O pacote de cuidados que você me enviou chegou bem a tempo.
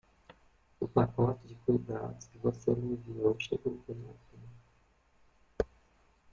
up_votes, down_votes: 0, 2